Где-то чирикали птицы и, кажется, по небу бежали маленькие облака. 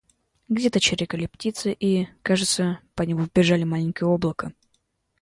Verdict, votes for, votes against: accepted, 2, 0